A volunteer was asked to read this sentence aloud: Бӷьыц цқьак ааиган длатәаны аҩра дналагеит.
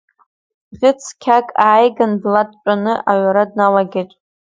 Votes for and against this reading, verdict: 2, 1, accepted